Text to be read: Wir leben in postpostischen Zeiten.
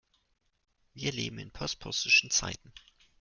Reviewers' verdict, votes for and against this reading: accepted, 2, 0